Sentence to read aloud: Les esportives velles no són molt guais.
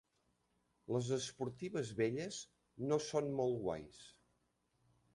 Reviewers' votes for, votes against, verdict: 0, 2, rejected